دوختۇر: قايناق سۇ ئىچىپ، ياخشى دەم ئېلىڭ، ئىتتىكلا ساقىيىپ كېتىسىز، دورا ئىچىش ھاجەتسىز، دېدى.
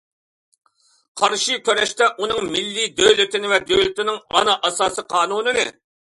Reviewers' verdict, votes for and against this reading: rejected, 0, 2